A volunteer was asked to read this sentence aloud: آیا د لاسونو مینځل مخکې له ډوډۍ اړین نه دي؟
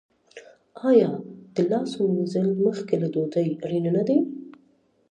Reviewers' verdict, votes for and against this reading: rejected, 0, 2